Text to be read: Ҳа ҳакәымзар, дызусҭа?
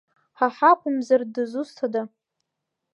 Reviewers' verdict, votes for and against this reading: accepted, 2, 0